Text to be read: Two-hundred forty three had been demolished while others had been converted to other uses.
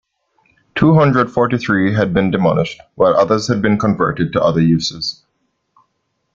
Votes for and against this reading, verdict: 2, 0, accepted